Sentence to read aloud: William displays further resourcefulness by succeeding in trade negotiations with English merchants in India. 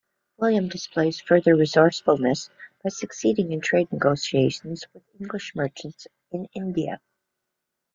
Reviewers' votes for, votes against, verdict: 2, 0, accepted